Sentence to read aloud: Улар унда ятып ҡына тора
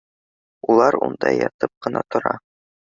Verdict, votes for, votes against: accepted, 2, 0